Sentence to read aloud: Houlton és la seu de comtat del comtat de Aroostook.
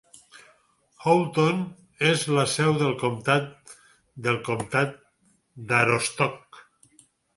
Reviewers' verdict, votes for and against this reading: rejected, 0, 4